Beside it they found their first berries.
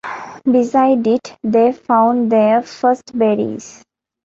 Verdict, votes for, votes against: accepted, 2, 0